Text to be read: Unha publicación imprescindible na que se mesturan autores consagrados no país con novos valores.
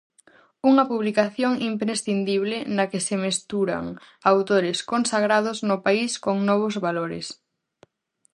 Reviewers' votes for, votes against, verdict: 4, 0, accepted